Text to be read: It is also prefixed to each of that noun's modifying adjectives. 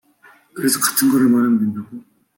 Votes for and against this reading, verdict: 0, 2, rejected